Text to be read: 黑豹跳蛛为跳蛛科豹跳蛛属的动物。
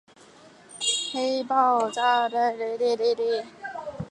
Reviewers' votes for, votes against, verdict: 0, 5, rejected